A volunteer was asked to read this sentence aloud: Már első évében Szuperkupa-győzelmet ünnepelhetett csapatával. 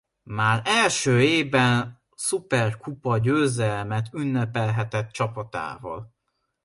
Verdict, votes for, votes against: rejected, 1, 2